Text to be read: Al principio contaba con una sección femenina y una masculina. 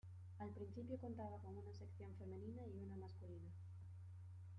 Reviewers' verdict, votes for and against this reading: rejected, 1, 2